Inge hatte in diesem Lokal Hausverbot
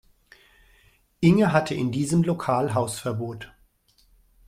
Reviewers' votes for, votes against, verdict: 2, 1, accepted